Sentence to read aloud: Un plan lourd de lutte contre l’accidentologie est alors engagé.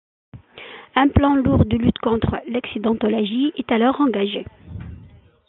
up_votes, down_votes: 2, 1